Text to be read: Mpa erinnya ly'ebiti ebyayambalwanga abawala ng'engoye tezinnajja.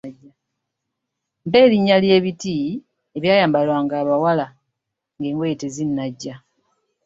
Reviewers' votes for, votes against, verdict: 2, 0, accepted